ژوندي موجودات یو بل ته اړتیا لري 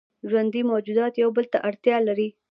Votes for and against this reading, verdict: 2, 0, accepted